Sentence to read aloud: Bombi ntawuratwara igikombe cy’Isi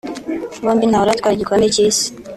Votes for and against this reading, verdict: 1, 2, rejected